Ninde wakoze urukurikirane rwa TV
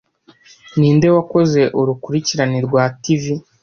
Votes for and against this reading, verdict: 2, 0, accepted